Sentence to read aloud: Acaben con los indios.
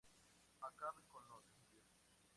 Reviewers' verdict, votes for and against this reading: rejected, 0, 2